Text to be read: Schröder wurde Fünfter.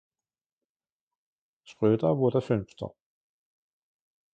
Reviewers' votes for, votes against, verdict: 2, 0, accepted